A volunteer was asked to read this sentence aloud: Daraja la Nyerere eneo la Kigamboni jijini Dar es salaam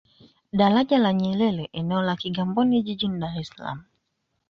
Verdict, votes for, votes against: accepted, 2, 0